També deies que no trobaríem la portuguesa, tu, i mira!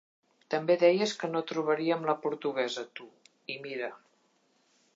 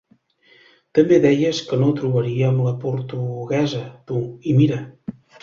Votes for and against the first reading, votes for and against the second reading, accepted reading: 4, 0, 0, 3, first